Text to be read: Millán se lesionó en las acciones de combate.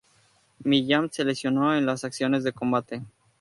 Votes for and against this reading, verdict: 2, 0, accepted